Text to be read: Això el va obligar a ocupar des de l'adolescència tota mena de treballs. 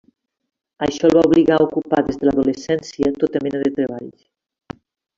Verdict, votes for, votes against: rejected, 0, 2